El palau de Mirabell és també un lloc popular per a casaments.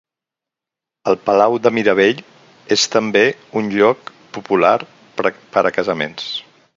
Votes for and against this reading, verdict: 0, 4, rejected